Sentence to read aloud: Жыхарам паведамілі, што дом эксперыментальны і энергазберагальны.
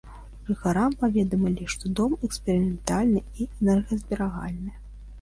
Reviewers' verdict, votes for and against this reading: accepted, 2, 0